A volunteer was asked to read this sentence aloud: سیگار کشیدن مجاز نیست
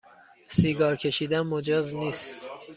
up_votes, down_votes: 2, 0